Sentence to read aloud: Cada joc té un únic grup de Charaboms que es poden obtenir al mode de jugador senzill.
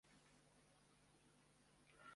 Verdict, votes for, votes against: rejected, 0, 2